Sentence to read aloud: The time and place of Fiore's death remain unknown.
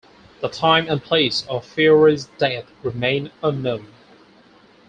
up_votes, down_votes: 4, 0